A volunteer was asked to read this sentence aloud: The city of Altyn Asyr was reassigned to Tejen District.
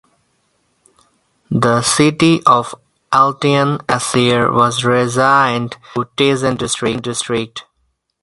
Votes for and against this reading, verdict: 2, 4, rejected